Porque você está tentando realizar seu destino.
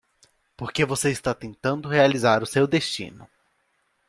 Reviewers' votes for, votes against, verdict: 0, 2, rejected